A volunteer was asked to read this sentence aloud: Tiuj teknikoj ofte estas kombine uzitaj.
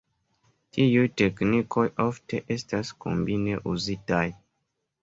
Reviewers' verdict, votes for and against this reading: accepted, 2, 1